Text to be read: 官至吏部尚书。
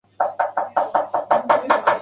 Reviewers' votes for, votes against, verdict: 1, 2, rejected